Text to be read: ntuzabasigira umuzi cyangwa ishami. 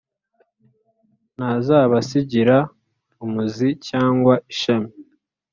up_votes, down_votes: 1, 2